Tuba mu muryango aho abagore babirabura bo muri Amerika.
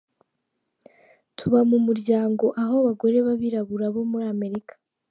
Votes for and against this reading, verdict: 2, 1, accepted